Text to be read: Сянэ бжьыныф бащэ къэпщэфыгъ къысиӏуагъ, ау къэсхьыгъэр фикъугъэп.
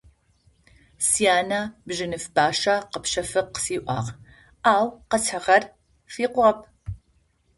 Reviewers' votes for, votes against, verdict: 2, 0, accepted